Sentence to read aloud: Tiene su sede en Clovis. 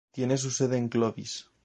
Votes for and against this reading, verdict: 2, 0, accepted